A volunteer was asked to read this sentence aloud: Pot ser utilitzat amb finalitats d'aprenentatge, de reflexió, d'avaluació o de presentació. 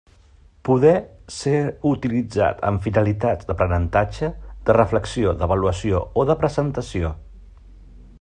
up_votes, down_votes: 0, 2